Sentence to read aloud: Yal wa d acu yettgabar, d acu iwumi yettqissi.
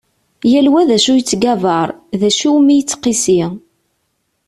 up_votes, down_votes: 2, 0